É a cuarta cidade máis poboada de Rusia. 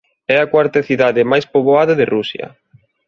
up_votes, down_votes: 2, 0